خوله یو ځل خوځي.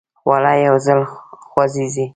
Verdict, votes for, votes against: accepted, 2, 1